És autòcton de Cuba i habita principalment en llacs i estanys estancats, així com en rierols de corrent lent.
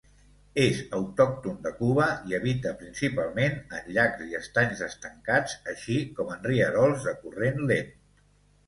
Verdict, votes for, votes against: accepted, 2, 0